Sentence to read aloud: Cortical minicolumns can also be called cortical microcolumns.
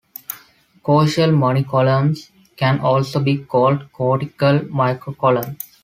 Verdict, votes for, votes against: rejected, 0, 2